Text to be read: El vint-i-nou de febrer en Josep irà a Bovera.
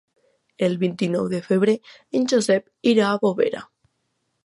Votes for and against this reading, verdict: 2, 0, accepted